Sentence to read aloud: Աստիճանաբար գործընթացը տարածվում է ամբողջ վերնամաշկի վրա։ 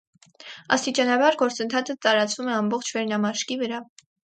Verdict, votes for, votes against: accepted, 2, 0